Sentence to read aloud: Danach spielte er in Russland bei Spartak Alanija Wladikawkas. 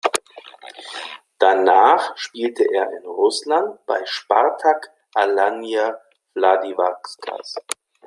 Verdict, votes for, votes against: rejected, 0, 2